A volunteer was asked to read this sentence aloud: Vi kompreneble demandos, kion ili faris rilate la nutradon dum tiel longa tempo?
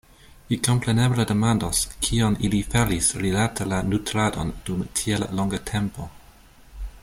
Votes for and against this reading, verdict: 2, 0, accepted